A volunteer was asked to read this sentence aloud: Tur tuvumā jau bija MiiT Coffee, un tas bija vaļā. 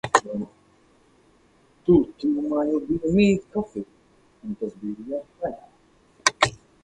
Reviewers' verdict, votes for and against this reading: accepted, 4, 0